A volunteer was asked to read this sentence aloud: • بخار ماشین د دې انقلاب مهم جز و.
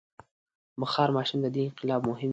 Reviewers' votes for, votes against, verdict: 3, 4, rejected